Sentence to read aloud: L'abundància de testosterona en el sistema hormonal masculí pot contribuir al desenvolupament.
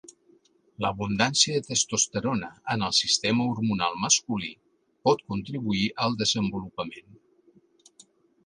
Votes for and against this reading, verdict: 2, 1, accepted